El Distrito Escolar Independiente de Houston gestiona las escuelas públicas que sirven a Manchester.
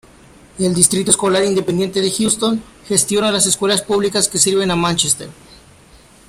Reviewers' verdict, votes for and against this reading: accepted, 2, 0